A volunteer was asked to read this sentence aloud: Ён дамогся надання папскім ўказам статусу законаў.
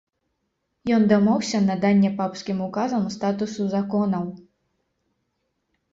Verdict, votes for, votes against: accepted, 2, 0